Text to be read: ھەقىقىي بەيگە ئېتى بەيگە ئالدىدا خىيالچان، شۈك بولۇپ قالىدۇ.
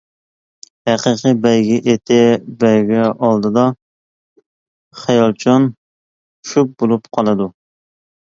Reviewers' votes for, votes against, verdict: 2, 1, accepted